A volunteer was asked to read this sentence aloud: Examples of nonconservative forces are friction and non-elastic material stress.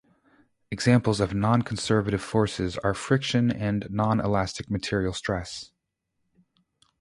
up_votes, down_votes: 2, 0